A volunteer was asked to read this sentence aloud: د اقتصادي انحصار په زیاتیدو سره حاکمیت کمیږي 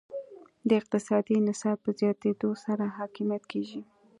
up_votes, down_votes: 2, 0